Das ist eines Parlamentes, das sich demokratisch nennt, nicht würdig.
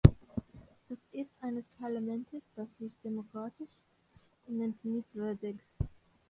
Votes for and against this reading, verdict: 0, 2, rejected